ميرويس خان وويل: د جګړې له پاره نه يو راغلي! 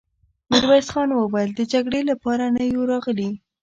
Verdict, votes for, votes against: rejected, 0, 2